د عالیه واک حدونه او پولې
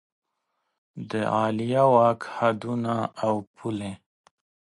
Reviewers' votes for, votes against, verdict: 2, 0, accepted